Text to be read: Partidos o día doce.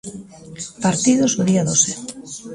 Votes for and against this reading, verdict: 1, 2, rejected